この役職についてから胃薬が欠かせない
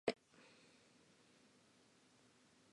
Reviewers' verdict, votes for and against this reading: rejected, 0, 3